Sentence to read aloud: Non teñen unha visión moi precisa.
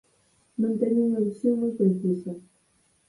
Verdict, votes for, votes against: accepted, 4, 2